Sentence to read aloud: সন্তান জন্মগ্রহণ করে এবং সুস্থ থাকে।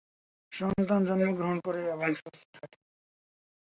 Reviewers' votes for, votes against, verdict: 0, 4, rejected